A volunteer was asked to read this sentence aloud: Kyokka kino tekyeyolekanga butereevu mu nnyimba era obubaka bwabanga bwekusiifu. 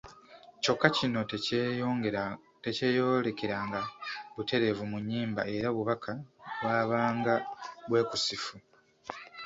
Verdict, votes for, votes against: rejected, 0, 2